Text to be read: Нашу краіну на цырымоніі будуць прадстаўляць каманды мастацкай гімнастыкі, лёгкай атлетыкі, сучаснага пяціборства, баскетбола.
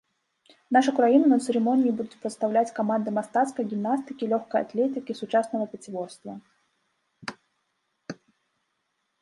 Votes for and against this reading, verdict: 1, 2, rejected